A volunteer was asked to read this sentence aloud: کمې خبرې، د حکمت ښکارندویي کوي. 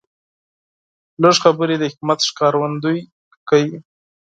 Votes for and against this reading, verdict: 0, 4, rejected